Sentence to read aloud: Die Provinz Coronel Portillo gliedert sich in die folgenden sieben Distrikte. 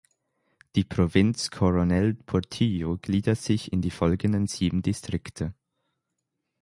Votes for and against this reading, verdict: 6, 0, accepted